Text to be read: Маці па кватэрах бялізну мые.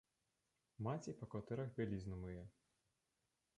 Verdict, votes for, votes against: rejected, 1, 2